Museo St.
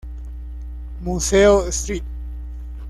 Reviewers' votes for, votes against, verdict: 1, 2, rejected